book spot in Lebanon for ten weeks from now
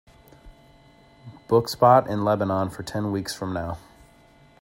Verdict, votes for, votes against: accepted, 2, 0